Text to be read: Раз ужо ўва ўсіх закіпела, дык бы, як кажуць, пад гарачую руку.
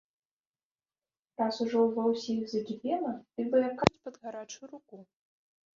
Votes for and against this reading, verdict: 0, 2, rejected